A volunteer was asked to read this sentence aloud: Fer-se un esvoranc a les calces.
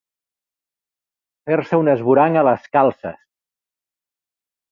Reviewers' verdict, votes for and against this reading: accepted, 2, 1